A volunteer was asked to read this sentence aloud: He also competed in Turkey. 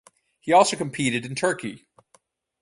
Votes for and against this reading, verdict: 4, 0, accepted